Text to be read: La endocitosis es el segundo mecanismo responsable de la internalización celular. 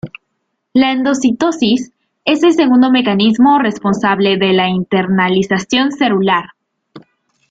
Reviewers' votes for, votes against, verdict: 2, 1, accepted